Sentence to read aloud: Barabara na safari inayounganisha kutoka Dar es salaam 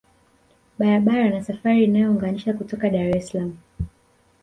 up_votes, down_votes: 1, 2